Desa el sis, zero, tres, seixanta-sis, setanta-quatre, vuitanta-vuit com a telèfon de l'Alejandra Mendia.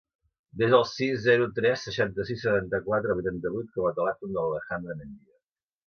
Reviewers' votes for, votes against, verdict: 3, 0, accepted